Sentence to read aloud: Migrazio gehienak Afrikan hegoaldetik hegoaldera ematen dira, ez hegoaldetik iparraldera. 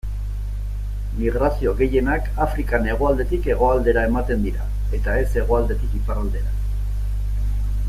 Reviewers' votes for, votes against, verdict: 1, 2, rejected